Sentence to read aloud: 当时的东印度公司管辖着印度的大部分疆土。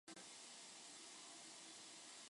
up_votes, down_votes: 0, 2